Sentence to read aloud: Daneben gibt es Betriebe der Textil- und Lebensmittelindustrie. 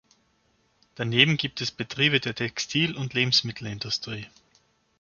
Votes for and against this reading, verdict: 2, 0, accepted